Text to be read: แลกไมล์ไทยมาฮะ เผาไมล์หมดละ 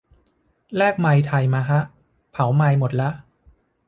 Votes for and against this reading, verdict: 2, 0, accepted